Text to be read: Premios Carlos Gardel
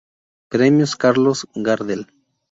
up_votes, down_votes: 0, 2